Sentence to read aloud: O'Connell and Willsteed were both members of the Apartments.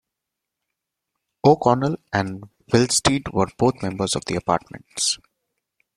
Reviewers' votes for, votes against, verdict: 2, 0, accepted